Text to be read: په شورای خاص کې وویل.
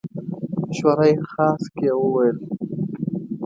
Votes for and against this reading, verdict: 1, 2, rejected